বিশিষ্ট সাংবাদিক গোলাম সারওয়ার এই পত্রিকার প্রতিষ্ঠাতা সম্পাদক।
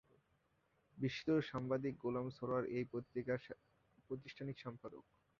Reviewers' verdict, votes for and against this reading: rejected, 0, 5